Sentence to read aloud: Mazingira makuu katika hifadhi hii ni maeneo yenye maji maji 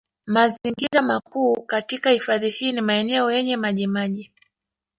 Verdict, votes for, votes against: accepted, 2, 0